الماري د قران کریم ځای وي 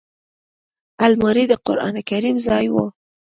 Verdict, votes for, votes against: accepted, 2, 0